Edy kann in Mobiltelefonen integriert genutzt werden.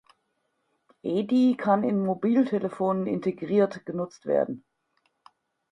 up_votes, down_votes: 4, 0